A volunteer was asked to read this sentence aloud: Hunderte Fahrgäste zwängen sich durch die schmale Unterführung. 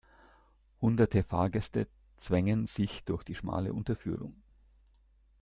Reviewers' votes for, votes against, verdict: 2, 0, accepted